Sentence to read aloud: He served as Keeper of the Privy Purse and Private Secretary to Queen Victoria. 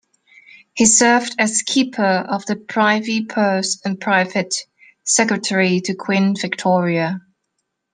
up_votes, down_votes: 2, 0